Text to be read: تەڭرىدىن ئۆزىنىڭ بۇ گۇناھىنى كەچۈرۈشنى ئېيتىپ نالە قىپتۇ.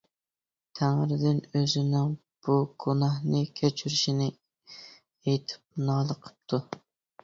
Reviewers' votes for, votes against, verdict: 1, 2, rejected